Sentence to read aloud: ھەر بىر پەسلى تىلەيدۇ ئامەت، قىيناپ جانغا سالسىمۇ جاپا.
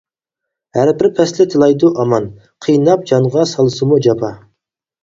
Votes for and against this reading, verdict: 0, 4, rejected